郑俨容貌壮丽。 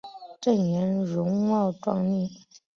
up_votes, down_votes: 5, 1